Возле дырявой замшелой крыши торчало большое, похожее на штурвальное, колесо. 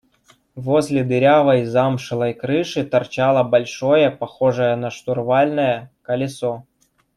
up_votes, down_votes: 1, 2